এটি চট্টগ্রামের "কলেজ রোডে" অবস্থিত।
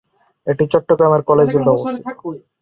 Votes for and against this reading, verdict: 0, 8, rejected